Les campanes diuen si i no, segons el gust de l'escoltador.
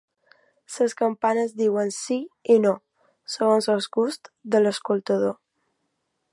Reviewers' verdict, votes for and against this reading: rejected, 0, 2